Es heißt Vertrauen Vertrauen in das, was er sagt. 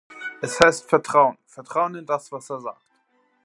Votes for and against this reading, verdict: 2, 0, accepted